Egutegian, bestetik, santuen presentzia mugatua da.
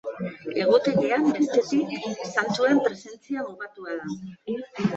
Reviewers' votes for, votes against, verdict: 1, 2, rejected